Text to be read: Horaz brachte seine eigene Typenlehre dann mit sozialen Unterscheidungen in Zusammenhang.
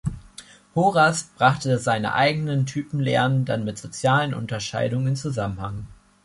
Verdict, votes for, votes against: rejected, 1, 2